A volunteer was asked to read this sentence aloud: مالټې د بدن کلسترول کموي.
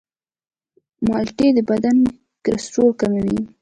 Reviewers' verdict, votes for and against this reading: accepted, 2, 0